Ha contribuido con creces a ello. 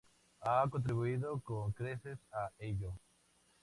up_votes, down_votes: 2, 0